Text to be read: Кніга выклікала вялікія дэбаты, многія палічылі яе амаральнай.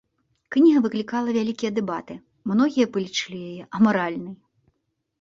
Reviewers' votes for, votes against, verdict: 2, 0, accepted